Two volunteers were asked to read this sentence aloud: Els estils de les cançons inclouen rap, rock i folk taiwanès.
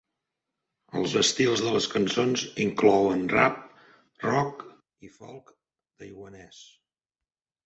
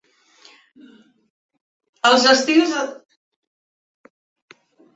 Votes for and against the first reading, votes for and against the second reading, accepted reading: 2, 1, 0, 3, first